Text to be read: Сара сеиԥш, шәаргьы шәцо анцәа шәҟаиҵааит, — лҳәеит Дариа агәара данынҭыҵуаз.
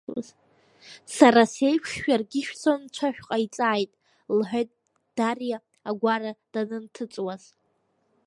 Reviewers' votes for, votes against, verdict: 1, 2, rejected